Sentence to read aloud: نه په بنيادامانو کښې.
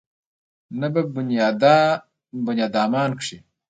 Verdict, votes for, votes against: rejected, 1, 2